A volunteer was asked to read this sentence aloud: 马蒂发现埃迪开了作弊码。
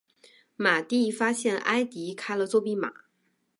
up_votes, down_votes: 2, 0